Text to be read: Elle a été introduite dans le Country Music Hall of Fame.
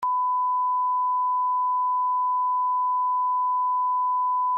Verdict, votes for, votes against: rejected, 0, 2